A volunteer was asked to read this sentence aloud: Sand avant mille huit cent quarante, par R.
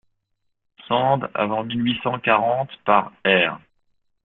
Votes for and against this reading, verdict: 0, 2, rejected